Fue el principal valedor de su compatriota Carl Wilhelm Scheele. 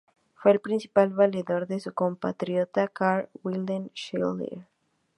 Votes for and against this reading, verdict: 2, 0, accepted